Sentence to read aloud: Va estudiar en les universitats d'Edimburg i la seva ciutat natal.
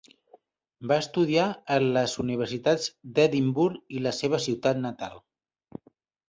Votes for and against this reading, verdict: 2, 0, accepted